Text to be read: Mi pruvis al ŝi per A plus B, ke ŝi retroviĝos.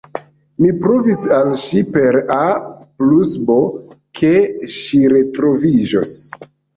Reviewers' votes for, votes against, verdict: 0, 2, rejected